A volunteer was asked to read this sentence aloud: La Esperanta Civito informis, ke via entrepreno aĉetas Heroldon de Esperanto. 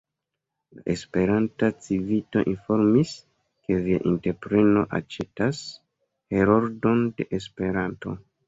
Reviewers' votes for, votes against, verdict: 0, 2, rejected